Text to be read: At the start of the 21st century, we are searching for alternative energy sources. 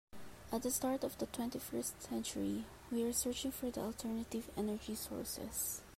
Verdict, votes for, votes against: rejected, 0, 2